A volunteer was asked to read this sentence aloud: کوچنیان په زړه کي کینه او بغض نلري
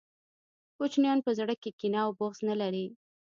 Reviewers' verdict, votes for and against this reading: accepted, 2, 0